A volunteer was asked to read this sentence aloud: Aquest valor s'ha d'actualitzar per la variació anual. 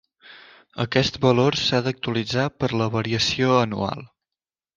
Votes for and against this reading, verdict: 3, 0, accepted